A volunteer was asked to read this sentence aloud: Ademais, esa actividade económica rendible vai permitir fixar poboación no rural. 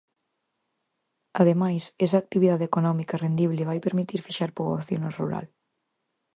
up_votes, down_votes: 4, 0